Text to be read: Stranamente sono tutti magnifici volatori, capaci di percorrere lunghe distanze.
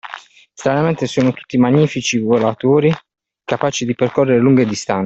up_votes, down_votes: 2, 1